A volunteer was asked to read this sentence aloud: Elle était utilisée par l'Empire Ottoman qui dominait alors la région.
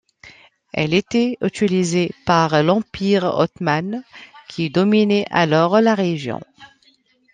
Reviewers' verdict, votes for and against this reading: rejected, 0, 2